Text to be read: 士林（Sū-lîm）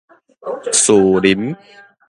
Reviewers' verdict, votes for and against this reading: accepted, 2, 1